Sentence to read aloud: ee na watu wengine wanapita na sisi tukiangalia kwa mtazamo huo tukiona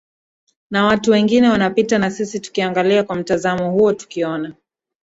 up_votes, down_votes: 2, 1